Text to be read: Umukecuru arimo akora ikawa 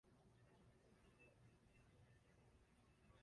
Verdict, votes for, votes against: rejected, 1, 2